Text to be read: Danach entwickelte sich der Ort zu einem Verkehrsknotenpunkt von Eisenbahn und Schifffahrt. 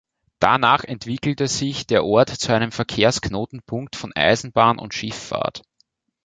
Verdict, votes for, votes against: accepted, 2, 0